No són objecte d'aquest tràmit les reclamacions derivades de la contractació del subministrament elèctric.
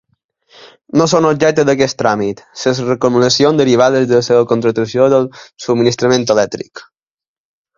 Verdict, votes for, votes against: rejected, 1, 2